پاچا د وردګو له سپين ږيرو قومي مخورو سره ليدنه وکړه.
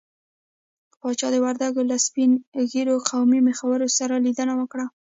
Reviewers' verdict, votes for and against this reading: accepted, 2, 0